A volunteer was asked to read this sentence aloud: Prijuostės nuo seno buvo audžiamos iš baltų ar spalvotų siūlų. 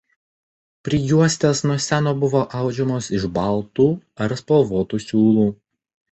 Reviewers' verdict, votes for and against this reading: rejected, 1, 2